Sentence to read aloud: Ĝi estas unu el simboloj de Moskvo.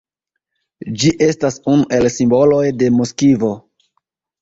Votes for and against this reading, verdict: 1, 2, rejected